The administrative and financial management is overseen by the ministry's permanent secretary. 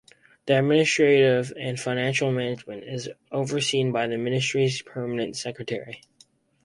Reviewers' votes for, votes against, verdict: 4, 0, accepted